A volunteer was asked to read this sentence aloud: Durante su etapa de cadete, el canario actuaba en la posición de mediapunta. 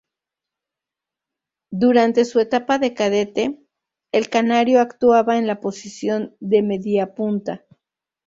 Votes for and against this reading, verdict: 2, 2, rejected